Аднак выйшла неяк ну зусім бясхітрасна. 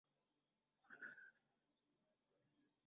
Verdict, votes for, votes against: rejected, 0, 2